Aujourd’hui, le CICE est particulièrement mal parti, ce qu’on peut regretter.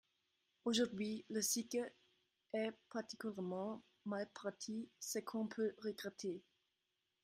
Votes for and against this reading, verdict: 0, 2, rejected